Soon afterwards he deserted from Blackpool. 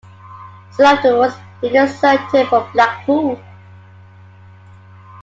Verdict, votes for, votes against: accepted, 2, 1